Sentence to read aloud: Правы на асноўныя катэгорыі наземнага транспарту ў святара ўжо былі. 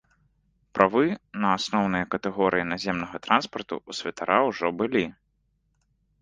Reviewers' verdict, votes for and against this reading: accepted, 2, 0